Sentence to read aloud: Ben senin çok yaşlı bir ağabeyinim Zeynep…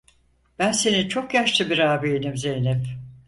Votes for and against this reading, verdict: 0, 4, rejected